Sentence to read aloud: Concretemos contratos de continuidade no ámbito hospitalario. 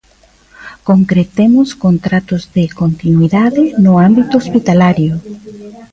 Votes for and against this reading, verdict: 1, 2, rejected